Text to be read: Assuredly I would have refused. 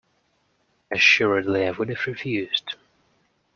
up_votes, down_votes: 1, 2